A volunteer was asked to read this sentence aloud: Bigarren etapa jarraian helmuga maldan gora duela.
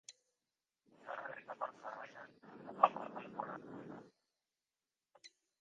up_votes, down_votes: 0, 2